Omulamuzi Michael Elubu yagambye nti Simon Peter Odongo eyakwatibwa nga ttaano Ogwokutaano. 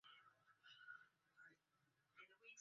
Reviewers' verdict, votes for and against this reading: rejected, 0, 2